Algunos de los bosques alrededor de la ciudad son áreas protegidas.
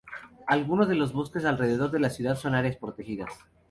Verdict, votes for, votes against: accepted, 4, 0